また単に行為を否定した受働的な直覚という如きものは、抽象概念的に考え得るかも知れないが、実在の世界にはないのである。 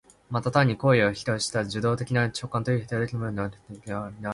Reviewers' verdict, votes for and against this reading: rejected, 1, 2